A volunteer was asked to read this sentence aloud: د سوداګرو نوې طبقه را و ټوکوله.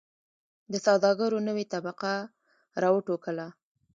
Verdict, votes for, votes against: rejected, 0, 2